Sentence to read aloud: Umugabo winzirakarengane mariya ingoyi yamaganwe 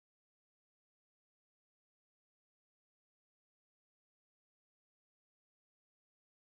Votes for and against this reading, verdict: 2, 3, rejected